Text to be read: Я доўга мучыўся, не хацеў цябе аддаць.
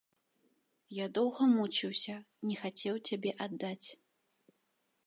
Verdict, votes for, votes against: accepted, 2, 0